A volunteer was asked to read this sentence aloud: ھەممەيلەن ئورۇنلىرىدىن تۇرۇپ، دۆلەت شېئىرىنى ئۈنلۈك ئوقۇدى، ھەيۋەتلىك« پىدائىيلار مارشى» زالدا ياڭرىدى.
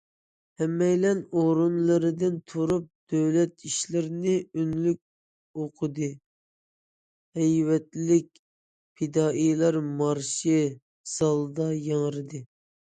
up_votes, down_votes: 0, 2